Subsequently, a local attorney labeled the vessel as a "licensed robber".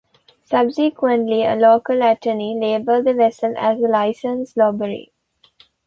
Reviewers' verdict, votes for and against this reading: rejected, 0, 2